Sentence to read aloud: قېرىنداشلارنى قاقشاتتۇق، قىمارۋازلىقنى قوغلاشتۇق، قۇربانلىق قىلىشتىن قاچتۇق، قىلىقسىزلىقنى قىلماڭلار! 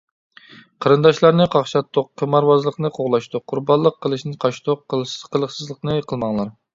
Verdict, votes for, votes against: rejected, 0, 2